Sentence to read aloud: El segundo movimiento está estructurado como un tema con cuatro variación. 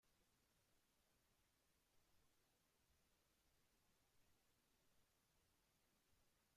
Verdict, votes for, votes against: rejected, 0, 2